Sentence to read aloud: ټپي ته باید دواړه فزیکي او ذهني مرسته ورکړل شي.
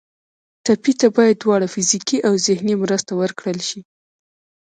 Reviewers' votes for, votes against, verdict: 2, 0, accepted